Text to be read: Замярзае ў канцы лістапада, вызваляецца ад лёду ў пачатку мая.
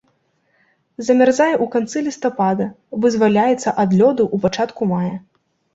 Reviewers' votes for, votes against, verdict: 2, 0, accepted